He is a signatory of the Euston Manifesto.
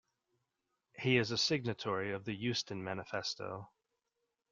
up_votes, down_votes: 2, 0